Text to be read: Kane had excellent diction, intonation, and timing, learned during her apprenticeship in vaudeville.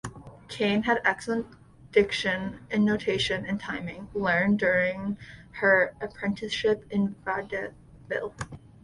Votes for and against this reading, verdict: 0, 2, rejected